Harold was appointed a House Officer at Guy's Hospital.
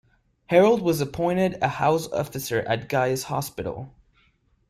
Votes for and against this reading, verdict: 2, 0, accepted